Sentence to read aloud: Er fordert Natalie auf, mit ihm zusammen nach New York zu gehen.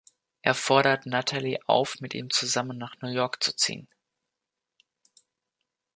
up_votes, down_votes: 1, 2